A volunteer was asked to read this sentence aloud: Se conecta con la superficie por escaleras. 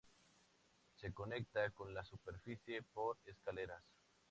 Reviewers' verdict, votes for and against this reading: accepted, 2, 0